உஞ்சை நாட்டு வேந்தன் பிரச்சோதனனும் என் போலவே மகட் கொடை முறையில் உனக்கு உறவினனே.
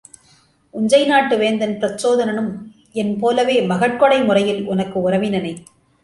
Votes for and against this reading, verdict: 2, 0, accepted